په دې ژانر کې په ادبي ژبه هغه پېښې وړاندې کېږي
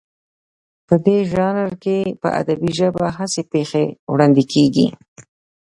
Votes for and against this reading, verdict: 1, 2, rejected